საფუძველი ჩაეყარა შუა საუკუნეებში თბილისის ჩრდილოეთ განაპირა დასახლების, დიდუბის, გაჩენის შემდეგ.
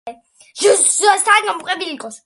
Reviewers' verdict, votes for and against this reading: rejected, 0, 2